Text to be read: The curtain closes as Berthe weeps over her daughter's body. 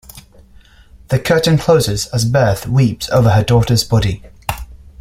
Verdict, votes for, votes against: accepted, 2, 0